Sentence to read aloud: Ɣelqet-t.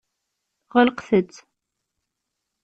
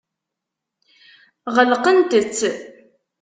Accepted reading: first